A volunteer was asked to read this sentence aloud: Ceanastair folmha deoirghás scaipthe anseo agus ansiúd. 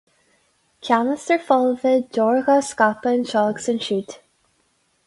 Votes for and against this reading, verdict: 2, 2, rejected